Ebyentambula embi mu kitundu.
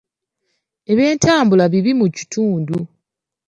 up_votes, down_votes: 1, 2